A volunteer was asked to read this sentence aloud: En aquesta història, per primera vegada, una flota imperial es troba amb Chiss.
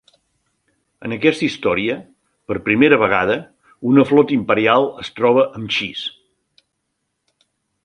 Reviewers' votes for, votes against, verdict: 2, 0, accepted